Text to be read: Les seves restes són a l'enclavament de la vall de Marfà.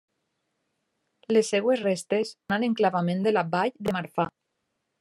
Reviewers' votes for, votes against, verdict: 0, 2, rejected